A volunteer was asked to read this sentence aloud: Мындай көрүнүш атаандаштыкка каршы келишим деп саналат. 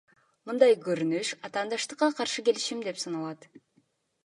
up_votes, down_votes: 2, 0